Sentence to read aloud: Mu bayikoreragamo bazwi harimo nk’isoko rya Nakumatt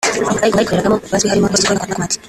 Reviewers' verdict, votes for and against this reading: rejected, 0, 3